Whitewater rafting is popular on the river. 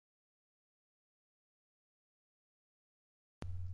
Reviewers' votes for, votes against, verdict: 0, 2, rejected